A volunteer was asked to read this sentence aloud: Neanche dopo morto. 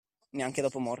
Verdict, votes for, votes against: accepted, 2, 0